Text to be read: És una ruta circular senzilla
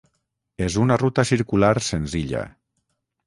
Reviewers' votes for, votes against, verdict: 6, 0, accepted